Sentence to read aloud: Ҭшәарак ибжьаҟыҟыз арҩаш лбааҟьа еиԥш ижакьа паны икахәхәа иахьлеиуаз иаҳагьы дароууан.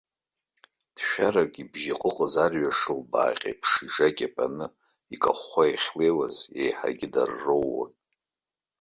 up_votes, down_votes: 0, 2